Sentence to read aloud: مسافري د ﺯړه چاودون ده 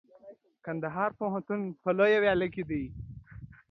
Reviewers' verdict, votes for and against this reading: rejected, 0, 2